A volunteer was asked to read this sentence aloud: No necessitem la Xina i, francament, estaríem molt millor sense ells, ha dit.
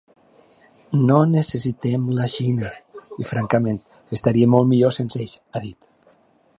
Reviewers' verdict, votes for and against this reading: accepted, 3, 0